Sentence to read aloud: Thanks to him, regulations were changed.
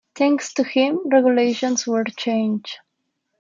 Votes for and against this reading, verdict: 1, 2, rejected